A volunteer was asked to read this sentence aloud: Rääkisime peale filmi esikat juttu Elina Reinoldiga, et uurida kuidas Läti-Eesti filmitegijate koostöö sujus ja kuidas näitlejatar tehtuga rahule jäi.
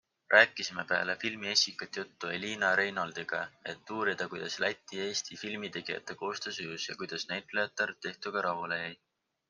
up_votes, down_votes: 4, 0